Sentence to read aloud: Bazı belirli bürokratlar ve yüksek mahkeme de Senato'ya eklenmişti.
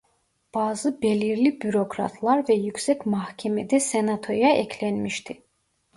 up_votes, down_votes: 2, 0